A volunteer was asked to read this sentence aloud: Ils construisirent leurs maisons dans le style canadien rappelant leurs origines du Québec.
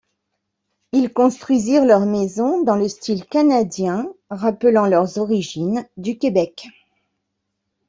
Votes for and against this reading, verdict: 2, 1, accepted